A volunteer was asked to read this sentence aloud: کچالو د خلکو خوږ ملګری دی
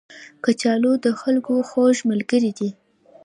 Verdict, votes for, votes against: rejected, 0, 2